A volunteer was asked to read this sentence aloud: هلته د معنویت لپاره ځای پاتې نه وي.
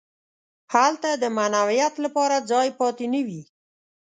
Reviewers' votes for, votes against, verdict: 2, 0, accepted